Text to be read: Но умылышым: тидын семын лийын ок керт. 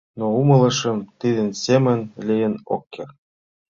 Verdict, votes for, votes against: accepted, 2, 0